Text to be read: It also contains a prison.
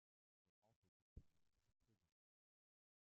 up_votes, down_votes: 0, 2